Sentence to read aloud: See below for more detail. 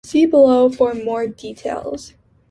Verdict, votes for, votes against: rejected, 1, 3